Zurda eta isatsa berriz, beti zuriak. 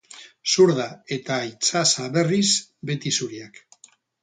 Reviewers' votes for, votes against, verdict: 0, 2, rejected